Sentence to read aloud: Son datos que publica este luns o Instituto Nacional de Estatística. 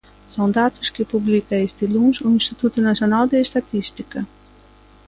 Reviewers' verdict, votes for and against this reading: accepted, 2, 0